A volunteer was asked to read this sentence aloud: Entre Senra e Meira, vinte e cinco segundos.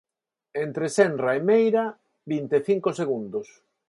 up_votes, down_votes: 4, 2